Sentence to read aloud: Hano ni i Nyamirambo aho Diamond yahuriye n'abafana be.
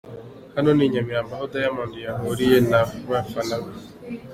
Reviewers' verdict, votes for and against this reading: accepted, 3, 0